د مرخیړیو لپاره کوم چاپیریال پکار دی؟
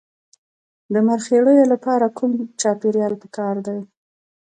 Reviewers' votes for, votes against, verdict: 2, 0, accepted